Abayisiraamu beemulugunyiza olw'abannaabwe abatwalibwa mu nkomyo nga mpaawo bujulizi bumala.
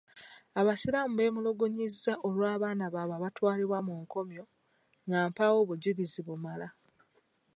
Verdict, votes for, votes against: rejected, 0, 2